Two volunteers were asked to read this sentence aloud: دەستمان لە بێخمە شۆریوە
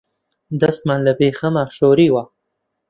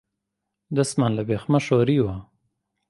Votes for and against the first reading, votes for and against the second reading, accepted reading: 1, 2, 2, 0, second